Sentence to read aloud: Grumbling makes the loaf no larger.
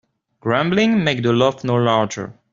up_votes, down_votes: 1, 2